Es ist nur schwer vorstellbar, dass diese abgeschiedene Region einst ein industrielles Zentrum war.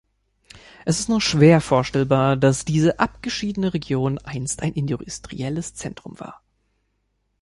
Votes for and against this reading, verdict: 1, 2, rejected